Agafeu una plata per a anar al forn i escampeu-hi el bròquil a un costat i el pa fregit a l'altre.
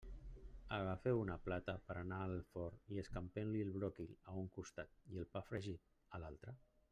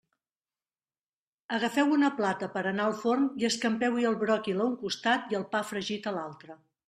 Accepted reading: second